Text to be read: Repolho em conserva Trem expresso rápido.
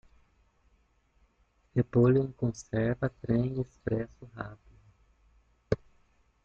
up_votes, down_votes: 1, 2